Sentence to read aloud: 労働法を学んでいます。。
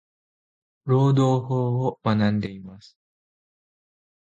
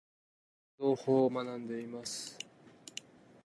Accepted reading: first